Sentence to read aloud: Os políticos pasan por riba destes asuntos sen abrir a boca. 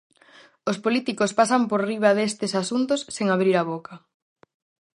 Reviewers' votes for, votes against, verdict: 4, 0, accepted